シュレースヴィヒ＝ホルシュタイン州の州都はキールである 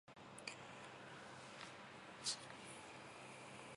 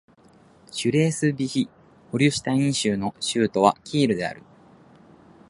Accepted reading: second